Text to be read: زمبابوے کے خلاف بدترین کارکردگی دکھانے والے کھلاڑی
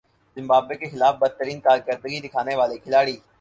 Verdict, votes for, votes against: accepted, 4, 0